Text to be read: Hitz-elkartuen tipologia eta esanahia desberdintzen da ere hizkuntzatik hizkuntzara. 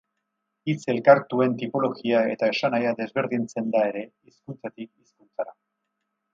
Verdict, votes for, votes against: rejected, 2, 2